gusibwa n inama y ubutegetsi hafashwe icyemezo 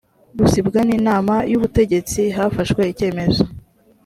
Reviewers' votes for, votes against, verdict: 2, 0, accepted